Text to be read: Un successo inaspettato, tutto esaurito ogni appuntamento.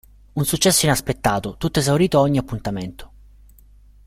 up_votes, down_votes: 0, 2